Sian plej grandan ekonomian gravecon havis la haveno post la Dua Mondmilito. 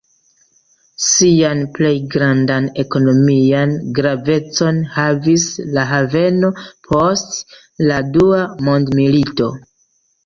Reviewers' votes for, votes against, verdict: 2, 0, accepted